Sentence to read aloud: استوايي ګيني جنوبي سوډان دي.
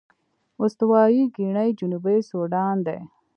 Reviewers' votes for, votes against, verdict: 1, 2, rejected